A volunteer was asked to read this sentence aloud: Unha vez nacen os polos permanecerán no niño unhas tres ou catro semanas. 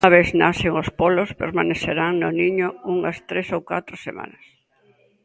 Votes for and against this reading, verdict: 1, 2, rejected